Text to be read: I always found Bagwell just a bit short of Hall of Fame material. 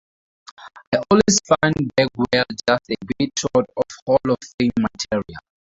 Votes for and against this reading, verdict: 0, 2, rejected